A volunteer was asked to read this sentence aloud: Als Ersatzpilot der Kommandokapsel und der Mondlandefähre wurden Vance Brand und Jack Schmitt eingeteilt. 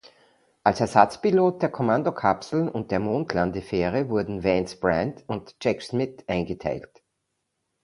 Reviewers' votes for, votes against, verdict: 2, 0, accepted